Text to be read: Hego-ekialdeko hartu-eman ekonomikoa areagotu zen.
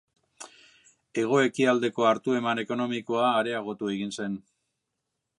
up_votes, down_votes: 2, 3